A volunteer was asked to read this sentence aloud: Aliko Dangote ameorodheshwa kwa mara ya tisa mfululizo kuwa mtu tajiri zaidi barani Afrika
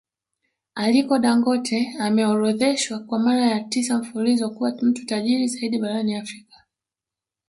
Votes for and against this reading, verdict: 1, 2, rejected